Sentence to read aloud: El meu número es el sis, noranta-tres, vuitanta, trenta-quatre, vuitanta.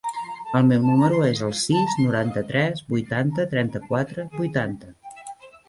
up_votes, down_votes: 1, 2